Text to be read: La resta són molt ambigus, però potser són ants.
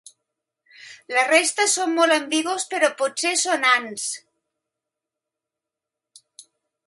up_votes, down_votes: 1, 2